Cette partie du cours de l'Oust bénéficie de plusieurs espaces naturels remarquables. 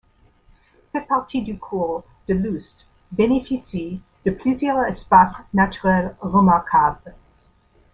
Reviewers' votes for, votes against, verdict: 2, 0, accepted